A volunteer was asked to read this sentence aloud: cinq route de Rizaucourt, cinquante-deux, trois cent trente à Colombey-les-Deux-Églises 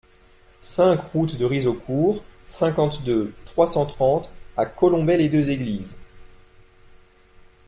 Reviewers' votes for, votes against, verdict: 2, 0, accepted